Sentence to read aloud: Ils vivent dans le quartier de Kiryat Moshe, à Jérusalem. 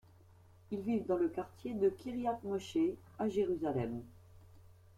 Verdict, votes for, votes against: rejected, 1, 2